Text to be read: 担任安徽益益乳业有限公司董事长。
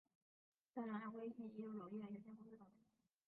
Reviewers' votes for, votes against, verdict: 0, 2, rejected